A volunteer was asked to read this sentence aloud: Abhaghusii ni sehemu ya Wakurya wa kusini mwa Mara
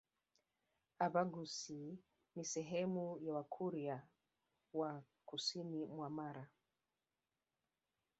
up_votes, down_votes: 0, 2